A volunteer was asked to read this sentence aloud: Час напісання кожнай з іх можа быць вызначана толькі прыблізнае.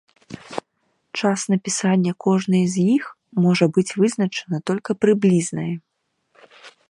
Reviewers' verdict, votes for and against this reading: rejected, 0, 2